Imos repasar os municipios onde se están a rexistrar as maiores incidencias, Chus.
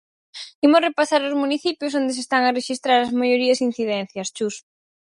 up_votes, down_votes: 0, 4